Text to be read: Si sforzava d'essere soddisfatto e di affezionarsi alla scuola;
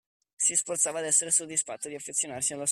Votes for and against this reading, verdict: 0, 2, rejected